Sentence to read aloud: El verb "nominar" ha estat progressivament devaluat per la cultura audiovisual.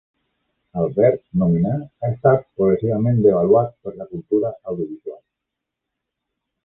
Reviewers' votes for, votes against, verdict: 2, 0, accepted